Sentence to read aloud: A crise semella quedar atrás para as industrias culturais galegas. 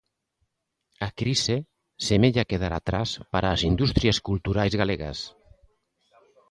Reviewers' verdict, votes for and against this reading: rejected, 1, 2